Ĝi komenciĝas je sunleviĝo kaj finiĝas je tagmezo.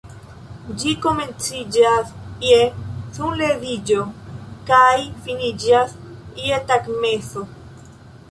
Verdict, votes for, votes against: accepted, 2, 0